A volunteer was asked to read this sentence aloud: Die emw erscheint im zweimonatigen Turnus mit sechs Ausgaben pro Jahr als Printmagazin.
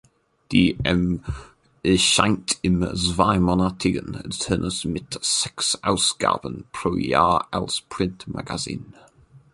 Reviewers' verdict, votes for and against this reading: rejected, 0, 2